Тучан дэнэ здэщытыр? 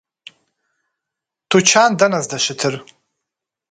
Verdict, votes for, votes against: accepted, 2, 0